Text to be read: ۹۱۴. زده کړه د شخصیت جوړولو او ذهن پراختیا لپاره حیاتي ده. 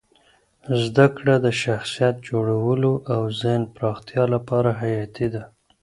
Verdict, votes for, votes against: rejected, 0, 2